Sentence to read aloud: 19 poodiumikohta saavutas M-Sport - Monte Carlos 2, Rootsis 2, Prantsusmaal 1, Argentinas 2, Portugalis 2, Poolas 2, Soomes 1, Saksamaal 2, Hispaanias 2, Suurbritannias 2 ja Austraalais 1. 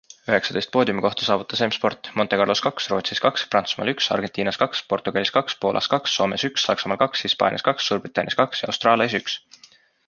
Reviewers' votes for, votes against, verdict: 0, 2, rejected